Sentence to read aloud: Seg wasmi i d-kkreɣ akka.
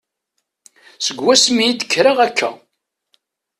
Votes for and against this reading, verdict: 2, 0, accepted